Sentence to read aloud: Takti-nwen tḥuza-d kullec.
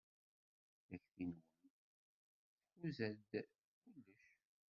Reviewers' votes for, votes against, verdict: 0, 2, rejected